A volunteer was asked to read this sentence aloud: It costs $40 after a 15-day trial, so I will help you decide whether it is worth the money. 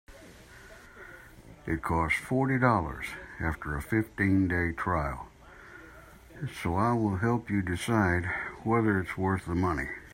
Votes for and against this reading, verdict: 0, 2, rejected